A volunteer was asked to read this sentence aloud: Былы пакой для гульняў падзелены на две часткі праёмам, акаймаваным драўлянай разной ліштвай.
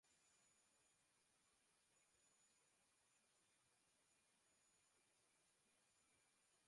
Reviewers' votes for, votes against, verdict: 0, 2, rejected